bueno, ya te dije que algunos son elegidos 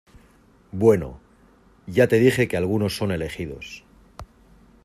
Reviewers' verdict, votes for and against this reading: accepted, 2, 0